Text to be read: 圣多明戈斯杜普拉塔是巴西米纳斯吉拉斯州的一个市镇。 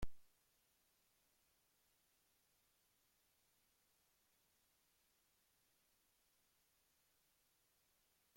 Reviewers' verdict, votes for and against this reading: rejected, 0, 2